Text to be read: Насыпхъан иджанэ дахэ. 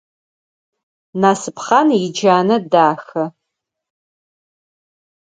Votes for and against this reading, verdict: 4, 0, accepted